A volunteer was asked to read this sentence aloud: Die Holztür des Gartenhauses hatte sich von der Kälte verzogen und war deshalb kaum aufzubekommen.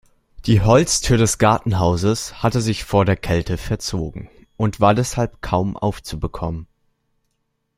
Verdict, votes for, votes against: rejected, 0, 2